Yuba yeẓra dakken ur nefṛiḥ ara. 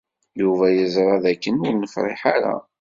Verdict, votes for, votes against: accepted, 2, 0